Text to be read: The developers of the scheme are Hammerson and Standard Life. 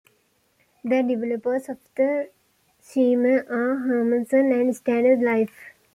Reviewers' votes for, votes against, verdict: 0, 2, rejected